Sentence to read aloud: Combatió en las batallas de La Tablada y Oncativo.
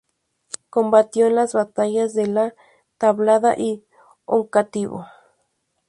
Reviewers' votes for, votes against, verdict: 0, 2, rejected